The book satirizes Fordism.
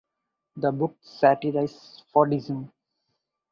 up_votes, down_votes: 2, 2